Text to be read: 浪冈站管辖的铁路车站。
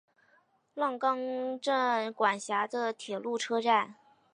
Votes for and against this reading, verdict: 3, 0, accepted